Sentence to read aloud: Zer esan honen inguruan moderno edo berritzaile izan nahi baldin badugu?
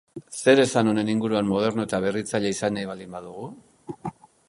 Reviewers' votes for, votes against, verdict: 1, 2, rejected